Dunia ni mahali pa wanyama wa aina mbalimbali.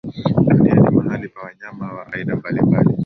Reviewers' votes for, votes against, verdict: 1, 2, rejected